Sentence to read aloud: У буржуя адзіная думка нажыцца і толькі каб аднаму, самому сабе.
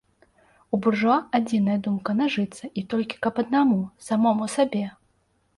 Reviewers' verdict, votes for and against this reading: rejected, 0, 2